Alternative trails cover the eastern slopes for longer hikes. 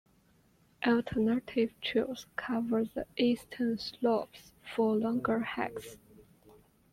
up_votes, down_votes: 2, 0